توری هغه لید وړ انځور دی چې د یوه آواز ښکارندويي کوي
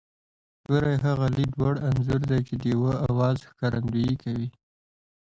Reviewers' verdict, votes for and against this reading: rejected, 1, 2